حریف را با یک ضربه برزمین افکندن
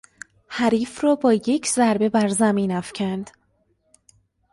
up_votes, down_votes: 0, 2